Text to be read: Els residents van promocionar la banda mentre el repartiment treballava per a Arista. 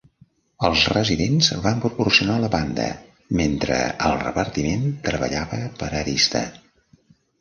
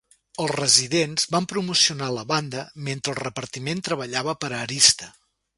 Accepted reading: second